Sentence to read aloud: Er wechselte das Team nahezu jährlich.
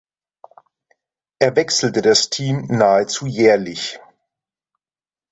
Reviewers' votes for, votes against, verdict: 2, 0, accepted